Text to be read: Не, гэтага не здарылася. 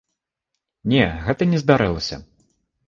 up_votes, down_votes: 1, 2